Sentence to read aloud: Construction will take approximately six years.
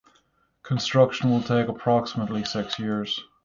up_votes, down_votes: 6, 0